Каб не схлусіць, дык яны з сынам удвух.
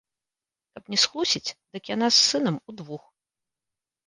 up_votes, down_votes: 2, 3